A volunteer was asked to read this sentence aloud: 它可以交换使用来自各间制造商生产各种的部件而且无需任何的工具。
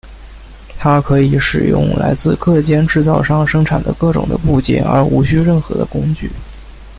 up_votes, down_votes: 2, 1